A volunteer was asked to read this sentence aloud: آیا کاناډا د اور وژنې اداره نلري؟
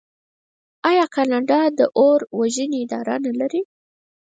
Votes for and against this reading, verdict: 0, 4, rejected